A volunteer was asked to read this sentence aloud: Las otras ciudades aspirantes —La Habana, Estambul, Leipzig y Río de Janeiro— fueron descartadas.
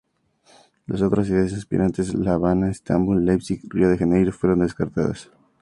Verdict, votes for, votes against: accepted, 4, 0